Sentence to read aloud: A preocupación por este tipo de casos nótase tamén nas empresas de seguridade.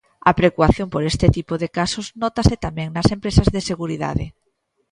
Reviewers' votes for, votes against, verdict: 0, 2, rejected